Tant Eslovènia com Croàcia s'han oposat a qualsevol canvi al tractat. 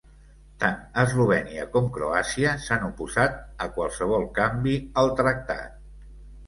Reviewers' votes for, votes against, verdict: 2, 1, accepted